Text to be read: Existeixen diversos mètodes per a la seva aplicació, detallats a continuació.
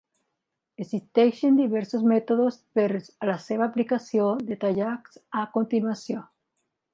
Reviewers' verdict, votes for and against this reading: rejected, 1, 2